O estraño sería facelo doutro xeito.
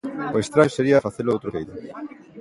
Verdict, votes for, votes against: rejected, 0, 2